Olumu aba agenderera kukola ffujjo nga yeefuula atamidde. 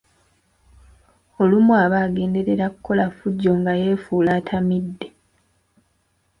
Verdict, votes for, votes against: accepted, 2, 0